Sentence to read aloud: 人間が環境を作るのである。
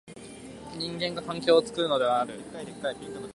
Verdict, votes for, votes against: accepted, 2, 1